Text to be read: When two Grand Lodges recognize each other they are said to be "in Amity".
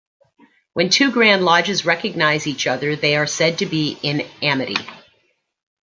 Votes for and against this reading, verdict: 2, 0, accepted